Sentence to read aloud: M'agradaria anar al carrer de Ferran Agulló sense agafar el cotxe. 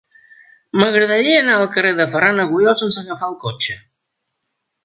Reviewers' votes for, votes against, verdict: 2, 0, accepted